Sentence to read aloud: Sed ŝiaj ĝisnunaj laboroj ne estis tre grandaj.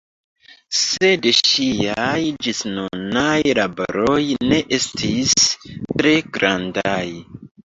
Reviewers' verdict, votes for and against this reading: accepted, 2, 0